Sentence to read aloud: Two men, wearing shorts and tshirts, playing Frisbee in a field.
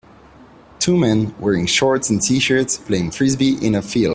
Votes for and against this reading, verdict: 2, 0, accepted